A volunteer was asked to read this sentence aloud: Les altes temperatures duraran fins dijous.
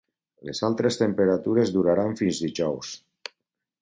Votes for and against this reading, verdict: 0, 2, rejected